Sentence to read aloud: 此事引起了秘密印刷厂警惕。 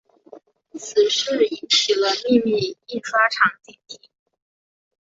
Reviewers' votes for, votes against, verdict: 1, 2, rejected